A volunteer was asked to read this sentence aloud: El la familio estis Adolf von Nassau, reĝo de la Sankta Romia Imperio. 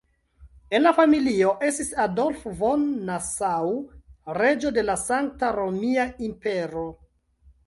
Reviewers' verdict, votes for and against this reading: rejected, 0, 2